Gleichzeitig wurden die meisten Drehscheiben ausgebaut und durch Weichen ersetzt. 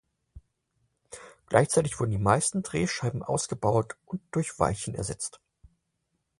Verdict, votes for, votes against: accepted, 4, 0